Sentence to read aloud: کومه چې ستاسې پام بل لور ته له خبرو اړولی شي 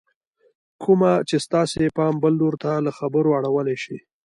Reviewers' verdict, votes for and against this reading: accepted, 2, 1